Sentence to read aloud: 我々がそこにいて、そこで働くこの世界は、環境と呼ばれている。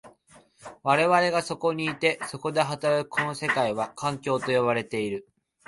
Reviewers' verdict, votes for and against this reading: accepted, 2, 0